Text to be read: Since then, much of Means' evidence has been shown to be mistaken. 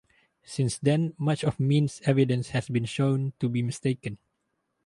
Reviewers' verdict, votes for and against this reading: rejected, 2, 2